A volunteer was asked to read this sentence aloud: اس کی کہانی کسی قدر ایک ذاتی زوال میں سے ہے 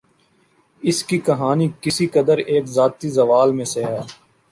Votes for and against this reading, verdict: 2, 0, accepted